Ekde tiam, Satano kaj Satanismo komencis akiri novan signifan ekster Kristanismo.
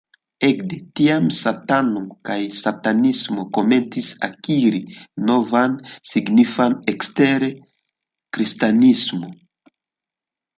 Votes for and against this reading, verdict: 2, 1, accepted